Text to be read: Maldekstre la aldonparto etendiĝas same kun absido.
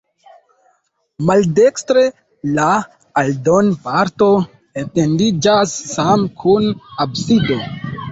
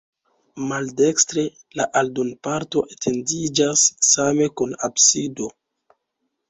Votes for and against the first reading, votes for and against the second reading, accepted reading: 0, 2, 2, 1, second